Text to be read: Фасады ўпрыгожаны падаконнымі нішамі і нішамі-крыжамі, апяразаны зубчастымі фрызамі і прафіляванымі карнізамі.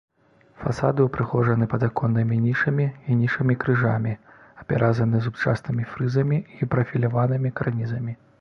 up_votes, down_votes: 3, 0